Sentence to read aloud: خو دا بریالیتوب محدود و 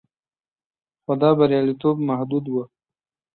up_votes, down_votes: 2, 0